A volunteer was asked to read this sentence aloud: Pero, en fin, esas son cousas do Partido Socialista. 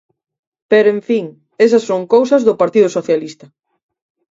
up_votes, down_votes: 4, 0